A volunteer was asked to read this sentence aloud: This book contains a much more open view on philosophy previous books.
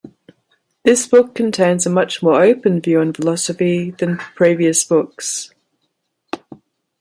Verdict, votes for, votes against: rejected, 1, 2